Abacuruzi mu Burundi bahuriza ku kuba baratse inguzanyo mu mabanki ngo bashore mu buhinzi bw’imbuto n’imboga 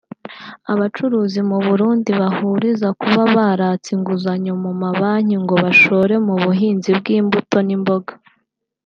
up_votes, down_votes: 3, 0